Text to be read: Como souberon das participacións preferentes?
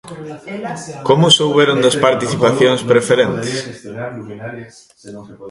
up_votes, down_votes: 0, 2